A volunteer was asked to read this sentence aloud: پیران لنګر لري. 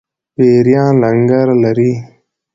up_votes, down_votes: 2, 0